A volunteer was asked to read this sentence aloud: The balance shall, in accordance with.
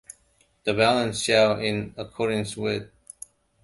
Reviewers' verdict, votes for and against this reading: accepted, 2, 0